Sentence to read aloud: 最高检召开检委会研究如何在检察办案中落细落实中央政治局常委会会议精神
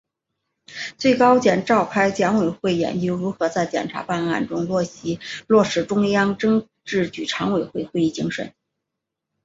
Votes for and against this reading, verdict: 2, 0, accepted